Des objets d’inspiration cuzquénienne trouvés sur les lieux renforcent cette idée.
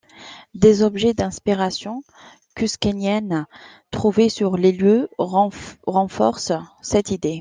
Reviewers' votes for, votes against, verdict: 0, 2, rejected